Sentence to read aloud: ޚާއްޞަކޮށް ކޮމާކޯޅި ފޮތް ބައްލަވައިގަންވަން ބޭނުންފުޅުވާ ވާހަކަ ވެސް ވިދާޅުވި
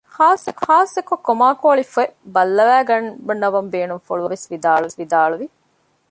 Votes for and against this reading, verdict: 0, 2, rejected